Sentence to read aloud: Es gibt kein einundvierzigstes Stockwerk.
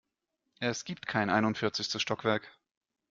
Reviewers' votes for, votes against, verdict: 2, 0, accepted